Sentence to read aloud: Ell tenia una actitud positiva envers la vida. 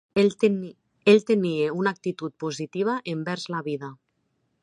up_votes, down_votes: 0, 3